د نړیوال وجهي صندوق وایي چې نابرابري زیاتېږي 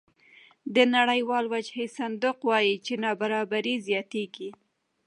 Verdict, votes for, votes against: accepted, 2, 1